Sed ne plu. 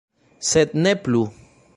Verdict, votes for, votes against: accepted, 2, 0